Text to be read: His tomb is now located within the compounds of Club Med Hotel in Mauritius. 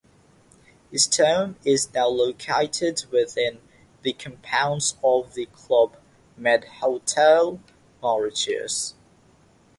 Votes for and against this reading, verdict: 3, 3, rejected